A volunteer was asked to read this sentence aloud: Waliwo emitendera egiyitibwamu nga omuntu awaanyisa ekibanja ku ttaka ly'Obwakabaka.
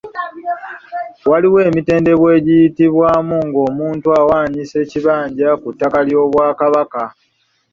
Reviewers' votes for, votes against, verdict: 0, 2, rejected